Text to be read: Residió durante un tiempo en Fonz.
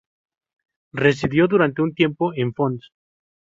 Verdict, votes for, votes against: rejected, 0, 2